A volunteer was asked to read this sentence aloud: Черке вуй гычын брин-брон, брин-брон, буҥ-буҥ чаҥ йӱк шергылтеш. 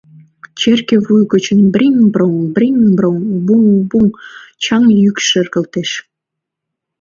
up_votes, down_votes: 2, 0